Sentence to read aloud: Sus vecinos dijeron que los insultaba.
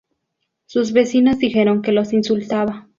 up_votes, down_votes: 2, 0